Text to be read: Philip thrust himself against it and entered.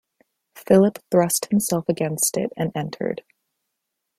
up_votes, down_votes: 2, 0